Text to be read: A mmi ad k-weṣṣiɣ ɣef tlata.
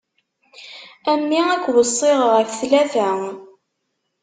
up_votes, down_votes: 2, 0